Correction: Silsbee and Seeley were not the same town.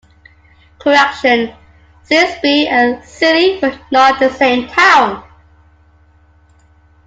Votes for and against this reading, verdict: 2, 0, accepted